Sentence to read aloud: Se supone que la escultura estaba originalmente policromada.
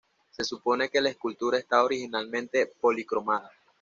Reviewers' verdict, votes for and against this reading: rejected, 1, 2